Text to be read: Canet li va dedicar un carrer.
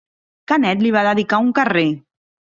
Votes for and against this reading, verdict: 3, 0, accepted